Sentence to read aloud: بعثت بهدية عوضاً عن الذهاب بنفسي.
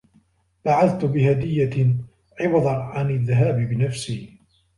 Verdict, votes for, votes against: rejected, 1, 2